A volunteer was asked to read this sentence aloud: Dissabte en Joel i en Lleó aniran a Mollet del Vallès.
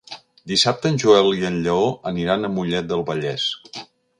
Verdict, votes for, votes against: accepted, 3, 1